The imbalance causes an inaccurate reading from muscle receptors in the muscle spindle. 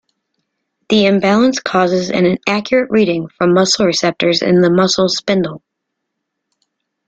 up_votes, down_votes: 2, 0